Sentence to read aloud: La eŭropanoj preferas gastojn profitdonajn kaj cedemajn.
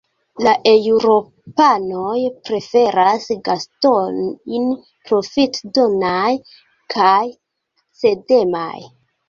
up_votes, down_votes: 1, 2